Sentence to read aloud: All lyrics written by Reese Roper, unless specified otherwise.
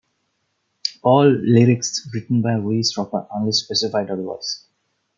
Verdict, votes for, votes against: rejected, 1, 2